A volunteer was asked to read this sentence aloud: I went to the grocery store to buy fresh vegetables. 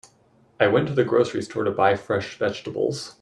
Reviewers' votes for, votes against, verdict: 2, 0, accepted